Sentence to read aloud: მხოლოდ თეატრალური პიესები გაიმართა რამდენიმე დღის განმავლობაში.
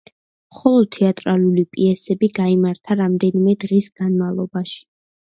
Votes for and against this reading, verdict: 2, 0, accepted